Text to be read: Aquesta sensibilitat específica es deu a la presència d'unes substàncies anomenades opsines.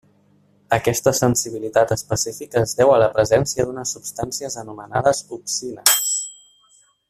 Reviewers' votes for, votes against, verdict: 1, 2, rejected